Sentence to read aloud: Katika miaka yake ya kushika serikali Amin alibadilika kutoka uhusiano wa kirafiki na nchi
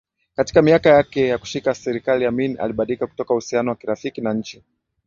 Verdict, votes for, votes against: accepted, 7, 4